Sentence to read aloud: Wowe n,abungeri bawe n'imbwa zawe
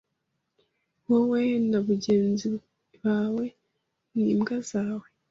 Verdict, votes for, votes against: rejected, 1, 2